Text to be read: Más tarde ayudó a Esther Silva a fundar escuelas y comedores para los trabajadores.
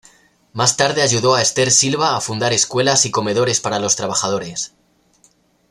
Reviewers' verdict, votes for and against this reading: accepted, 2, 0